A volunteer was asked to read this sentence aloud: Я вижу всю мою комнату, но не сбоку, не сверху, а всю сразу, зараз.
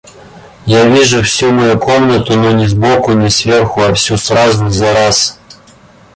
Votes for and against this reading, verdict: 2, 0, accepted